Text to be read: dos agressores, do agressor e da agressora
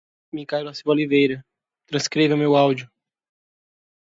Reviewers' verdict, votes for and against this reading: rejected, 0, 2